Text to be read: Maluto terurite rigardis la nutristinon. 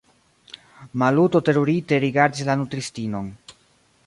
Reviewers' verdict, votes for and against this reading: rejected, 1, 2